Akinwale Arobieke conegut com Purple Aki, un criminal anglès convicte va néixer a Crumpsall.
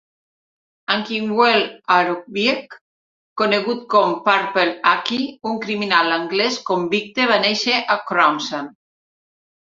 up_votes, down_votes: 1, 2